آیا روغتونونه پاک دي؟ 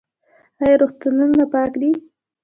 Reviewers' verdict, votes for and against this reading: rejected, 1, 3